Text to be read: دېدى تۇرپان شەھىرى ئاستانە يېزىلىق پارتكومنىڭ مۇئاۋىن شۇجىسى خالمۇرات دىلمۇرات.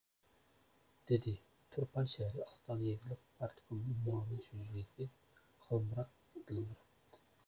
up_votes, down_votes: 0, 2